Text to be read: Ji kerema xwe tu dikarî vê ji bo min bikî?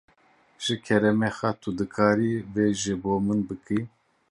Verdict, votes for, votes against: rejected, 1, 2